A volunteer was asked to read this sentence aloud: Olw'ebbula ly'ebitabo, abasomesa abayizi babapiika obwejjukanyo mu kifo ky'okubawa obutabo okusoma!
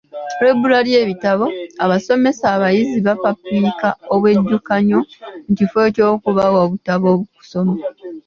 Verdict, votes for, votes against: accepted, 2, 1